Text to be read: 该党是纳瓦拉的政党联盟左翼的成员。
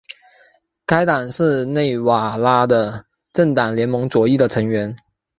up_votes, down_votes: 6, 1